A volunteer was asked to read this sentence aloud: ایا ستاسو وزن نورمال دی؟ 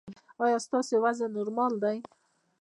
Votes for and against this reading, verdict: 0, 2, rejected